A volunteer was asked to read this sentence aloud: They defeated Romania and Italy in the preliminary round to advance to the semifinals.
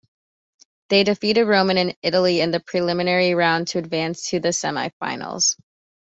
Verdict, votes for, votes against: rejected, 0, 2